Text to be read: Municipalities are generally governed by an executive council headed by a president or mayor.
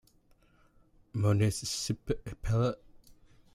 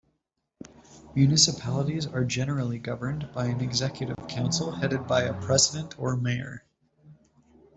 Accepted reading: second